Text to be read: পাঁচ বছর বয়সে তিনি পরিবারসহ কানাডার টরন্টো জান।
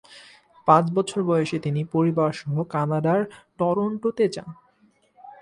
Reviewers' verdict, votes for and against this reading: rejected, 1, 2